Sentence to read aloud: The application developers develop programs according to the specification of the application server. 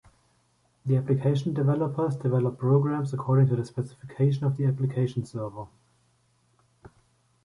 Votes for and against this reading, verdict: 1, 2, rejected